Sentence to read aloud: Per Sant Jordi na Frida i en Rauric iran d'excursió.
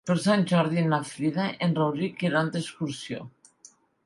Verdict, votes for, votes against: accepted, 2, 0